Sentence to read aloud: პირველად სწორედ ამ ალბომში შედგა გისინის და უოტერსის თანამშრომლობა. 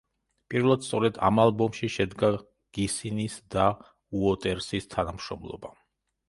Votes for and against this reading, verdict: 2, 0, accepted